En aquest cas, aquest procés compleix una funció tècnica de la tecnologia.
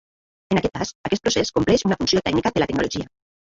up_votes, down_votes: 1, 2